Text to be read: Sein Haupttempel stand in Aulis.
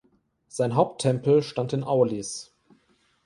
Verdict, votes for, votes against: accepted, 2, 0